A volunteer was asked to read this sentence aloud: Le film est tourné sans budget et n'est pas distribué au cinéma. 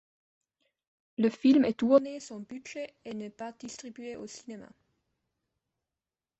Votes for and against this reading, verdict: 2, 0, accepted